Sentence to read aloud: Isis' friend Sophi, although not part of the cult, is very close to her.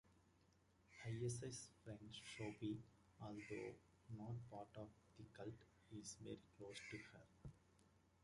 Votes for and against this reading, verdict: 0, 2, rejected